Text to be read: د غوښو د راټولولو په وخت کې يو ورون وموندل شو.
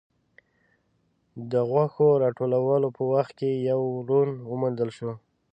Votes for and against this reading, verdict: 1, 3, rejected